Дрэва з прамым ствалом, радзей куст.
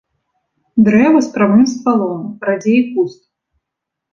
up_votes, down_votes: 0, 2